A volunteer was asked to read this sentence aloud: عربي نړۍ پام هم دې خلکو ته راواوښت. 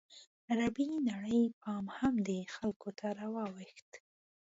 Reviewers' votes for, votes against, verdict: 2, 0, accepted